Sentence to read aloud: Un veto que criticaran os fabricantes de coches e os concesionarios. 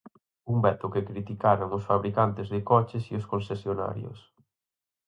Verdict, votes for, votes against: rejected, 0, 4